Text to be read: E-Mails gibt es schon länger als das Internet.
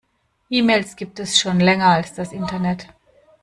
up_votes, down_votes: 2, 0